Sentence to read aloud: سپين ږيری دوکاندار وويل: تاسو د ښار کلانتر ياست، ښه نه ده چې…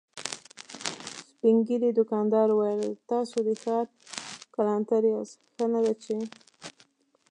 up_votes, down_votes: 2, 1